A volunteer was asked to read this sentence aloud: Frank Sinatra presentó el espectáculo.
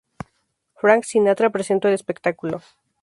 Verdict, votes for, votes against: rejected, 2, 2